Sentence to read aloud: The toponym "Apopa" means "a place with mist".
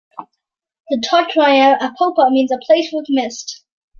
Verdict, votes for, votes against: rejected, 1, 2